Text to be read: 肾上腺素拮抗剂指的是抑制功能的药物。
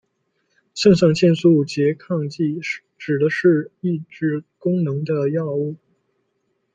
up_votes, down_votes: 2, 0